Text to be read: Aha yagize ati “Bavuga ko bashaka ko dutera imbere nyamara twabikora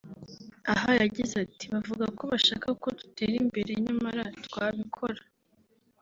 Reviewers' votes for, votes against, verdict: 0, 2, rejected